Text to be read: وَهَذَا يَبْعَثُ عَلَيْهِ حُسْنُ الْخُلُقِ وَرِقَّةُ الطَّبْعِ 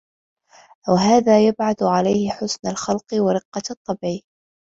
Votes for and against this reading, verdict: 1, 2, rejected